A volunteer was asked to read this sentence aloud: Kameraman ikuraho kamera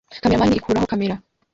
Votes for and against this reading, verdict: 1, 2, rejected